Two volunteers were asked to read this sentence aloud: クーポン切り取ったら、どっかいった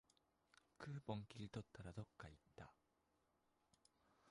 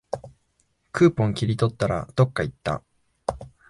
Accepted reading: second